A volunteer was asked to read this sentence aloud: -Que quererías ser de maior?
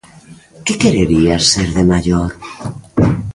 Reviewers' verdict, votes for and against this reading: accepted, 2, 0